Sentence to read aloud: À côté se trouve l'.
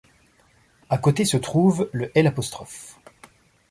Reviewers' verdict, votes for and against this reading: rejected, 1, 2